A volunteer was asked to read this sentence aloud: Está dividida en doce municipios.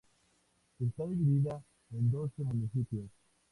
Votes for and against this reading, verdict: 2, 0, accepted